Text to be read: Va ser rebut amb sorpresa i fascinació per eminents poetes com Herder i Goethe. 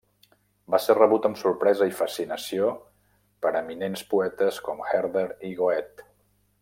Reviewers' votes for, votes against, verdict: 0, 2, rejected